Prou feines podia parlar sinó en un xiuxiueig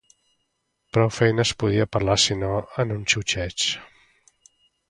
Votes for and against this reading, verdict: 0, 2, rejected